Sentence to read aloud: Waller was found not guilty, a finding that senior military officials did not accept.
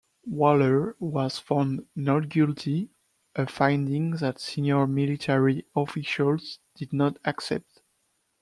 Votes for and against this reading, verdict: 2, 0, accepted